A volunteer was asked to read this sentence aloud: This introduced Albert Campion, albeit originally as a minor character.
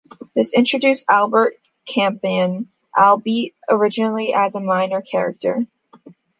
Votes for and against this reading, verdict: 2, 0, accepted